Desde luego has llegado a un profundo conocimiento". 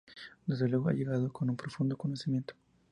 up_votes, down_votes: 0, 4